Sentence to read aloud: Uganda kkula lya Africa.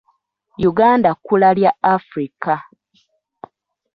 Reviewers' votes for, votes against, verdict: 2, 0, accepted